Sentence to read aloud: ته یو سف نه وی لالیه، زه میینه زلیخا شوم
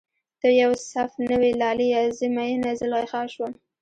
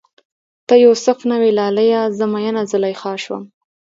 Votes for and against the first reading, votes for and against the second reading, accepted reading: 2, 0, 1, 2, first